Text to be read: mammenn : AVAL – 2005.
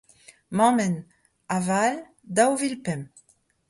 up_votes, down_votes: 0, 2